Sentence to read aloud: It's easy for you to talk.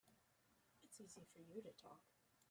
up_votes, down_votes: 1, 2